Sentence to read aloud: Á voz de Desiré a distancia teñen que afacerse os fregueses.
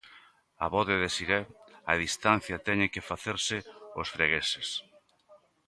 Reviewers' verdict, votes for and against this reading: rejected, 0, 2